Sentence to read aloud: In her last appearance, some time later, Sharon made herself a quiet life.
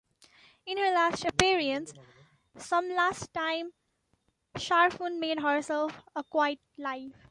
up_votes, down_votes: 1, 2